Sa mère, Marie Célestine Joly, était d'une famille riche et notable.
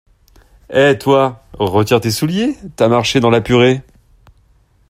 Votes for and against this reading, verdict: 0, 2, rejected